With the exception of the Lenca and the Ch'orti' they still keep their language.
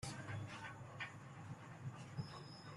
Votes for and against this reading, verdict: 0, 2, rejected